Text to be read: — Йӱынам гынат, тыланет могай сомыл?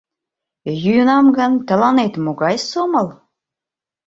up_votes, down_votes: 1, 2